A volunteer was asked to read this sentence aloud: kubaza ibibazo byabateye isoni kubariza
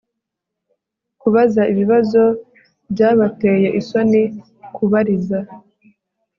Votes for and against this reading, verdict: 0, 2, rejected